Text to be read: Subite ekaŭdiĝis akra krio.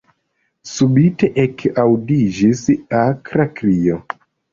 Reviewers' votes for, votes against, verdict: 1, 2, rejected